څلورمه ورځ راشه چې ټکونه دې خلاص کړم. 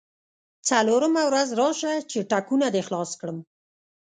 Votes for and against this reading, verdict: 1, 2, rejected